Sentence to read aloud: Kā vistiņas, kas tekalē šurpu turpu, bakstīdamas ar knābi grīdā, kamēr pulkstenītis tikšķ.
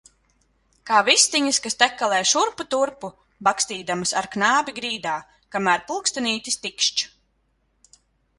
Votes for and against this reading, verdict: 3, 0, accepted